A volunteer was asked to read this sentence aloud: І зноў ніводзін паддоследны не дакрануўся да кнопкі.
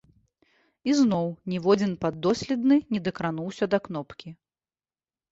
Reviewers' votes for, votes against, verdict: 2, 0, accepted